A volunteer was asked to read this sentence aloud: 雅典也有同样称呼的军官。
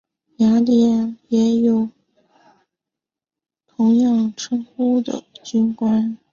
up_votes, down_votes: 1, 2